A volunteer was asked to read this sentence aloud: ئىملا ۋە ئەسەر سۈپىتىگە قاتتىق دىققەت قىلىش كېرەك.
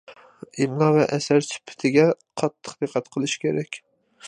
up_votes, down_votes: 2, 0